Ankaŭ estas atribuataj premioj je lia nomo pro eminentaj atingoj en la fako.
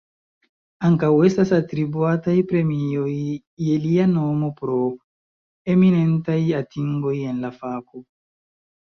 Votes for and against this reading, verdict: 2, 1, accepted